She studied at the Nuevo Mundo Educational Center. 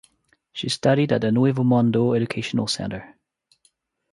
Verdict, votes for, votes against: accepted, 3, 0